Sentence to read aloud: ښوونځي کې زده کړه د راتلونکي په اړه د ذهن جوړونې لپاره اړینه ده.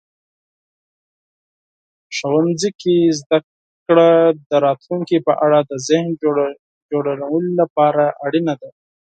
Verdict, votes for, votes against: rejected, 4, 6